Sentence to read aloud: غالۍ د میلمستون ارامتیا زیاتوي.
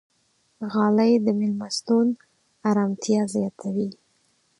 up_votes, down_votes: 4, 0